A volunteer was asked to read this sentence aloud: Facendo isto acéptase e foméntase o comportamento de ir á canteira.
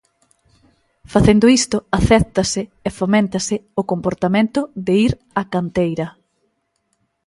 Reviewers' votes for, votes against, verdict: 2, 0, accepted